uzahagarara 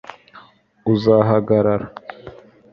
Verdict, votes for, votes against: accepted, 3, 0